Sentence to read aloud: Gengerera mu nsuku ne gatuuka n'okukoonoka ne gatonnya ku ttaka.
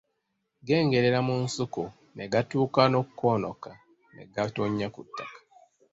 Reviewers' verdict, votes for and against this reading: accepted, 2, 0